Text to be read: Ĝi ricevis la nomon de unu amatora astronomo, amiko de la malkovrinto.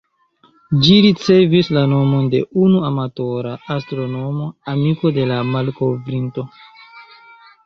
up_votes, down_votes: 2, 1